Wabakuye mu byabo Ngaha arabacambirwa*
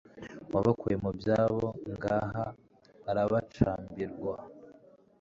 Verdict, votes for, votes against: accepted, 2, 0